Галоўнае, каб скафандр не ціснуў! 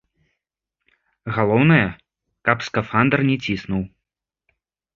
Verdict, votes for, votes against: accepted, 2, 0